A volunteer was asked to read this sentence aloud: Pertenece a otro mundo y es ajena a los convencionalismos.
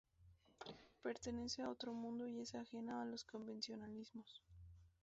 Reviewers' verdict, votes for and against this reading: accepted, 2, 0